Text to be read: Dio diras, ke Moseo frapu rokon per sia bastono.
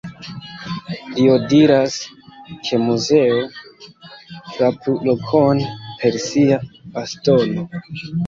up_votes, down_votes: 0, 2